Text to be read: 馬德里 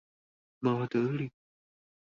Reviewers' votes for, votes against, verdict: 2, 0, accepted